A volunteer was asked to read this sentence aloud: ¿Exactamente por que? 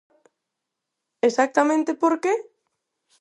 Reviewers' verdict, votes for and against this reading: accepted, 4, 0